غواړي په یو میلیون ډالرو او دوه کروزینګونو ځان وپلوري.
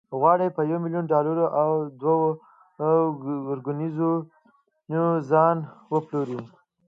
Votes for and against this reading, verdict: 2, 1, accepted